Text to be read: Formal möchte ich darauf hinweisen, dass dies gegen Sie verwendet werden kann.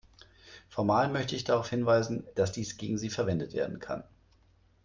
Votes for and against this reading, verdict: 2, 0, accepted